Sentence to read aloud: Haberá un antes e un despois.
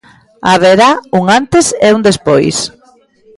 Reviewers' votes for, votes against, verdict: 0, 2, rejected